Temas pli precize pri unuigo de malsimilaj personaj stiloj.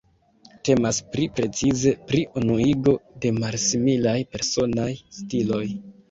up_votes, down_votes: 0, 2